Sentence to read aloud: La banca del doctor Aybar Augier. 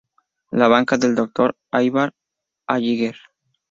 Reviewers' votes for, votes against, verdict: 0, 2, rejected